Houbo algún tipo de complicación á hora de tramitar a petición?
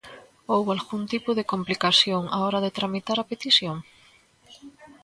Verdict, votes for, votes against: rejected, 1, 2